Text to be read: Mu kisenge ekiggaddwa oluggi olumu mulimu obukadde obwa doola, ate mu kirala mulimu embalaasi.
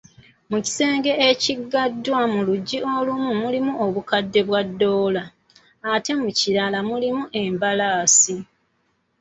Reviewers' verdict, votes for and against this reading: rejected, 0, 2